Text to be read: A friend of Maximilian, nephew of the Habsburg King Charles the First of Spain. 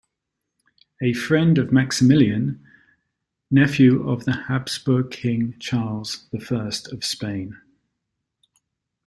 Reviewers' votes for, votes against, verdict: 2, 0, accepted